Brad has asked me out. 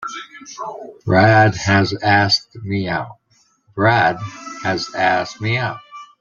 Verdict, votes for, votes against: rejected, 0, 2